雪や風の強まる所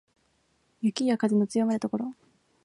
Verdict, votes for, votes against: accepted, 2, 0